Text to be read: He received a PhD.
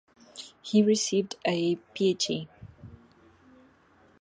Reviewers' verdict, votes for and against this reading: accepted, 2, 1